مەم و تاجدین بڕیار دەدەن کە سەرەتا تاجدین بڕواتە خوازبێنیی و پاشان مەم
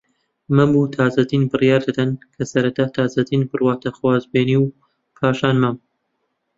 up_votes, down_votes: 1, 2